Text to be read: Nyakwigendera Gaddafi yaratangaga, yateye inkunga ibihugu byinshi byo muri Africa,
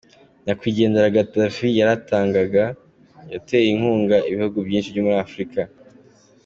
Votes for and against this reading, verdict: 2, 0, accepted